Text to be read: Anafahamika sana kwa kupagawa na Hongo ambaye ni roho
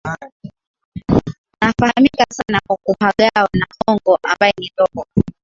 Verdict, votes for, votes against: rejected, 0, 2